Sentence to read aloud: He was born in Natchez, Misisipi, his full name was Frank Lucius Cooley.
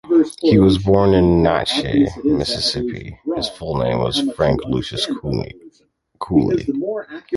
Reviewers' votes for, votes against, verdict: 1, 2, rejected